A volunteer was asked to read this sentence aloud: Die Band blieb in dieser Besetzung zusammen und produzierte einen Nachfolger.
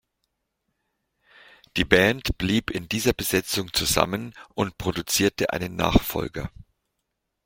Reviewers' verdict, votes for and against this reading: accepted, 2, 0